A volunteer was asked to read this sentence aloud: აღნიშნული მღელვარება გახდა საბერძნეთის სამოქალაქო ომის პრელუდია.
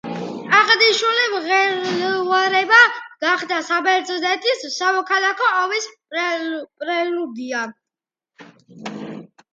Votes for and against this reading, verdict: 0, 2, rejected